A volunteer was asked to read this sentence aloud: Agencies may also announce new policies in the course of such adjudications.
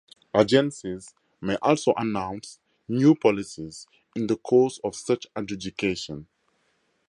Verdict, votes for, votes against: rejected, 2, 2